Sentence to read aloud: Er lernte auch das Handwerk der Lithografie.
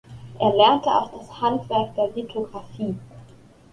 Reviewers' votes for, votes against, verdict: 2, 0, accepted